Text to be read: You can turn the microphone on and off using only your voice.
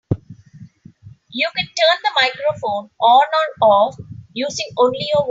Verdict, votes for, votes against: rejected, 0, 3